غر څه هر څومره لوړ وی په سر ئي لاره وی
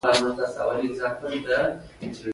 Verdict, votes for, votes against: accepted, 2, 0